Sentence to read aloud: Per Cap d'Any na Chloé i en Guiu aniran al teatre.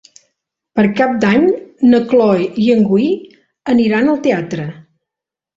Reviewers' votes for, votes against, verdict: 1, 2, rejected